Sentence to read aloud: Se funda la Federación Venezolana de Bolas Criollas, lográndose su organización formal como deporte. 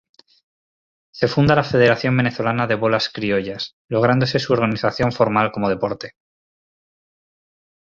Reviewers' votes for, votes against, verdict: 2, 2, rejected